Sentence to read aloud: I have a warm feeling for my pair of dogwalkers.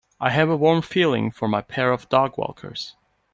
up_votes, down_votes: 2, 0